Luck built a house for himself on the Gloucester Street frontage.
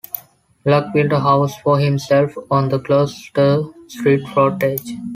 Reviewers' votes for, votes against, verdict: 2, 0, accepted